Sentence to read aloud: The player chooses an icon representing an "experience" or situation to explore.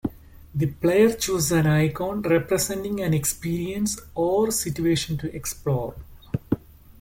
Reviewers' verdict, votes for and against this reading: rejected, 1, 2